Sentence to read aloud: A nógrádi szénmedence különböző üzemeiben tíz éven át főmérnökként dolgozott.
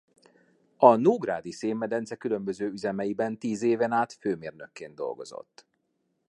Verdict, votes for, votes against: accepted, 2, 0